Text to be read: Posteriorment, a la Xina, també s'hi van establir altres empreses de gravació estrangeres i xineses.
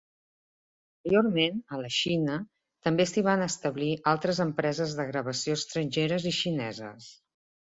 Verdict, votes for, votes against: rejected, 0, 2